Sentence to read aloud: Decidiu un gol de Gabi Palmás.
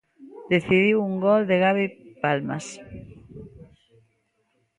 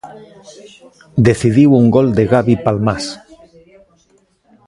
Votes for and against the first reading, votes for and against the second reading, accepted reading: 0, 2, 2, 0, second